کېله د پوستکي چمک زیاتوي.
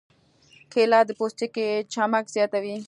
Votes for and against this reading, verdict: 2, 0, accepted